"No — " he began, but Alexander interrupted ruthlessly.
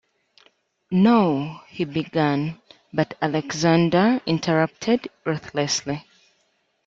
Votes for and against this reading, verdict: 2, 0, accepted